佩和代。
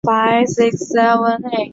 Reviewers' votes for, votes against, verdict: 0, 2, rejected